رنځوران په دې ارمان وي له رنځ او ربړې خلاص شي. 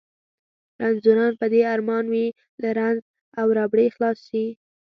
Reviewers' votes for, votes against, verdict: 2, 0, accepted